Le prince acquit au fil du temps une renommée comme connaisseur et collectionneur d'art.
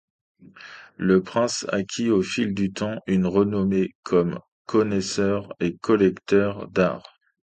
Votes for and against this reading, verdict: 2, 1, accepted